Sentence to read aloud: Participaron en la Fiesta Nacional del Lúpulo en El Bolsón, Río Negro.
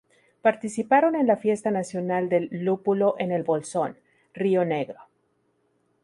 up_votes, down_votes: 0, 2